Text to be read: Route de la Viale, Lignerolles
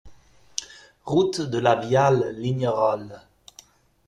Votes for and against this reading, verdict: 2, 0, accepted